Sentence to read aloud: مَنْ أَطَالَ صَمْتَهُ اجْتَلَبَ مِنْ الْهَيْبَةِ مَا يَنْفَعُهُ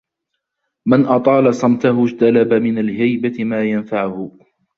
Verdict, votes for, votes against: accepted, 2, 1